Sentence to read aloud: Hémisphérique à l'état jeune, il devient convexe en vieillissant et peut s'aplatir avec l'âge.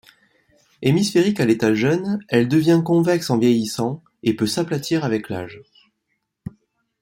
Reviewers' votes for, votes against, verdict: 0, 2, rejected